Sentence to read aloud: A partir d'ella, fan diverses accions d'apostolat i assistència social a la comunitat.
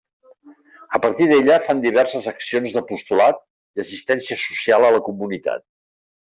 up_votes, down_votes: 2, 0